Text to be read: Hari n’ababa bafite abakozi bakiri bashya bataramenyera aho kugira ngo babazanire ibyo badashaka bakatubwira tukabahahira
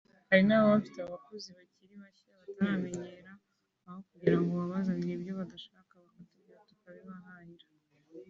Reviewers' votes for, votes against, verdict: 1, 2, rejected